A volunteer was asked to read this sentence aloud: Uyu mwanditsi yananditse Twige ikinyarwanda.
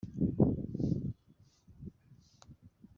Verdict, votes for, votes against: rejected, 1, 2